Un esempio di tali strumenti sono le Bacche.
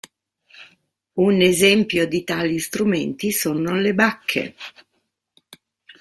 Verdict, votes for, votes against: accepted, 2, 0